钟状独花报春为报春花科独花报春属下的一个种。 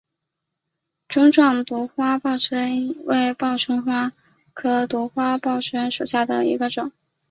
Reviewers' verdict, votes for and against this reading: accepted, 4, 0